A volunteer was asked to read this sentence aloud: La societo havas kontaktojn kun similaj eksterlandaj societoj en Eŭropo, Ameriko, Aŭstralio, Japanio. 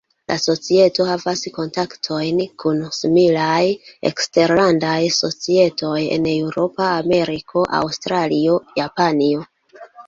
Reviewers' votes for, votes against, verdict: 0, 2, rejected